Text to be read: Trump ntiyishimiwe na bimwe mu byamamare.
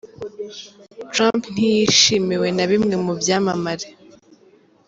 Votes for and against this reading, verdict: 2, 1, accepted